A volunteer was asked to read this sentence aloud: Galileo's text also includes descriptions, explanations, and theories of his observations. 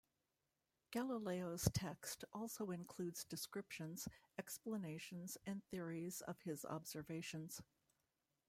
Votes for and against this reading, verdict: 2, 0, accepted